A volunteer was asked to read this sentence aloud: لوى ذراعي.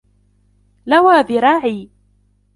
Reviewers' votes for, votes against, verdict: 2, 1, accepted